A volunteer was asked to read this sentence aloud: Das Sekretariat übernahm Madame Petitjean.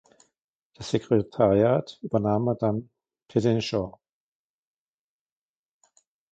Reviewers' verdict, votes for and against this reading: accepted, 2, 1